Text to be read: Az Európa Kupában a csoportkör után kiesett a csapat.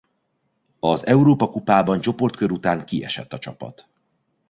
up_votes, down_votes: 1, 2